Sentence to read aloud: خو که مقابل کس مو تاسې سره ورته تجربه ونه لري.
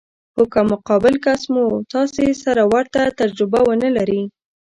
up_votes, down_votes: 0, 2